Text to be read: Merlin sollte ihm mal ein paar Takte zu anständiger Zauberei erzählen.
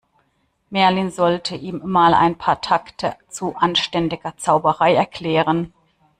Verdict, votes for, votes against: rejected, 1, 2